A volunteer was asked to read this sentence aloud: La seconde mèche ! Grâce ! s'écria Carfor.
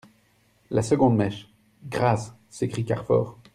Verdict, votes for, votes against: rejected, 0, 2